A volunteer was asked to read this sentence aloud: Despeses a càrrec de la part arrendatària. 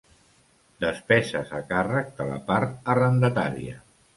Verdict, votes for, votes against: accepted, 2, 0